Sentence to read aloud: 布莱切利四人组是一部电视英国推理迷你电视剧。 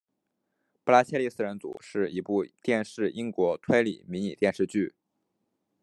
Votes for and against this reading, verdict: 2, 1, accepted